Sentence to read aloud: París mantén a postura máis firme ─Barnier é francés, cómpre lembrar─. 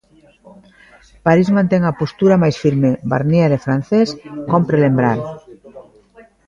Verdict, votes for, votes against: rejected, 0, 2